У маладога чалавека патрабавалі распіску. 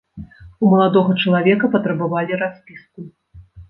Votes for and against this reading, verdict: 0, 2, rejected